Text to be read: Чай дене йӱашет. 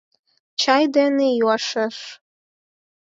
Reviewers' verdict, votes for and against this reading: rejected, 0, 4